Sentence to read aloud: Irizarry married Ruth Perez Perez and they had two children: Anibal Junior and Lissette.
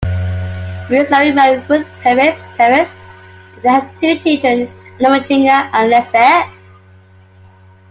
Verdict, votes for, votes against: rejected, 0, 2